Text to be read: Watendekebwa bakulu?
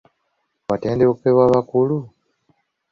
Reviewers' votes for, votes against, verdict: 1, 2, rejected